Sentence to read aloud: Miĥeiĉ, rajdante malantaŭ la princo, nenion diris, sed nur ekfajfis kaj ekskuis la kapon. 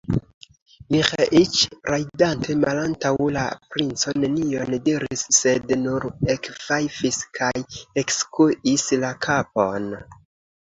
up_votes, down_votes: 2, 0